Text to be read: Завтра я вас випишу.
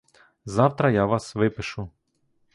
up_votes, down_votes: 2, 0